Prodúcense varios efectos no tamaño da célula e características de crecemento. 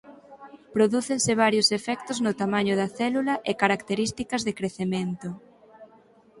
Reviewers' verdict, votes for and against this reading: accepted, 4, 0